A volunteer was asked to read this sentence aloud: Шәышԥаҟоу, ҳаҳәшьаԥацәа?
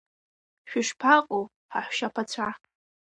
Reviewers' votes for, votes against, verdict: 2, 1, accepted